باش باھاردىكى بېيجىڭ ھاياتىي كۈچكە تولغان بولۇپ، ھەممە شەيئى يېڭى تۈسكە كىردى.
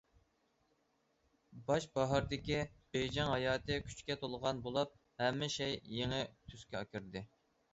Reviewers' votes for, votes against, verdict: 0, 2, rejected